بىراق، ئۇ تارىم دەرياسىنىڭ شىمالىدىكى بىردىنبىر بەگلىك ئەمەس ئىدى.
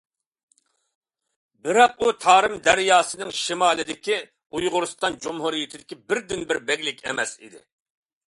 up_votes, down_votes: 0, 2